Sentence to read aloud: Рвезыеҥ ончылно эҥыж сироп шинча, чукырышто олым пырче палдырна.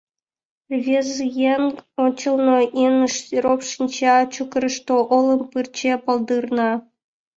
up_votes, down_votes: 0, 2